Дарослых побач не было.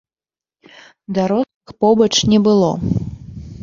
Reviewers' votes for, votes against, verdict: 0, 2, rejected